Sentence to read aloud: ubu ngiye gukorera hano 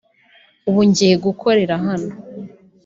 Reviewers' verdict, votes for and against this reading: accepted, 2, 1